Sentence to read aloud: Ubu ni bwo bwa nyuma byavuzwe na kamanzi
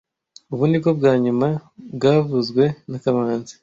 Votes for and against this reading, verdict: 2, 0, accepted